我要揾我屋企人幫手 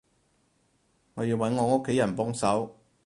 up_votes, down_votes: 4, 0